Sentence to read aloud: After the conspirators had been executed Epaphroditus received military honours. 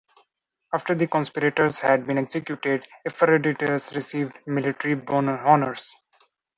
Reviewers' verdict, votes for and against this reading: rejected, 1, 2